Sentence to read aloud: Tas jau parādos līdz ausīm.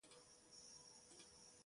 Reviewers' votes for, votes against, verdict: 0, 2, rejected